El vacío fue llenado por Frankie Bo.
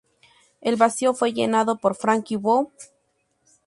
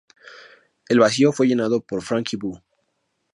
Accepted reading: second